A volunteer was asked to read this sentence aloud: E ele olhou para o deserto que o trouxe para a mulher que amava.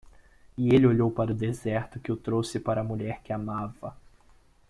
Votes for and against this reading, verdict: 2, 0, accepted